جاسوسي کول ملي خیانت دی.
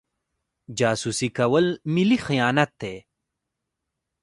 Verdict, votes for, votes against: rejected, 0, 2